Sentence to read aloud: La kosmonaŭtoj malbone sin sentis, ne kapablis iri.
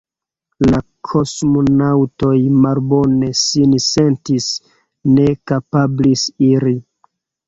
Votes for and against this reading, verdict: 2, 1, accepted